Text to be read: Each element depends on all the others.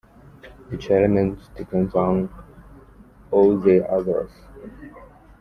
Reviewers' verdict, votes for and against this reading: rejected, 1, 2